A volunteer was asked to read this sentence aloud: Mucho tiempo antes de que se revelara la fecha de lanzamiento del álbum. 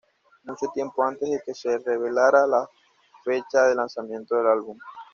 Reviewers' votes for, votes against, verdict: 2, 0, accepted